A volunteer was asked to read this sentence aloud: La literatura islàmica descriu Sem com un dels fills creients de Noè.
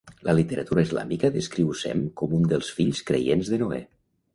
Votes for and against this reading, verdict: 2, 0, accepted